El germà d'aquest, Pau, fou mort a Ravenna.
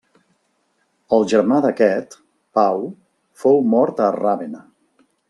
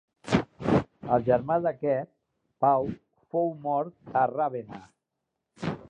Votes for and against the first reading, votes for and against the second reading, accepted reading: 0, 2, 3, 2, second